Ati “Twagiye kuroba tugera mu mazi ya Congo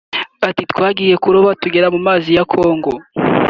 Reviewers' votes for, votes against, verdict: 3, 0, accepted